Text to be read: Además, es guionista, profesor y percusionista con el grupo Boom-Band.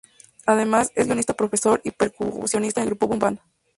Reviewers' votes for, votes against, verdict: 0, 2, rejected